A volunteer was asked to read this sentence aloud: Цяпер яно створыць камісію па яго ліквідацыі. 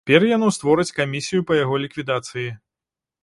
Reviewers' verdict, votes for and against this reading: rejected, 0, 2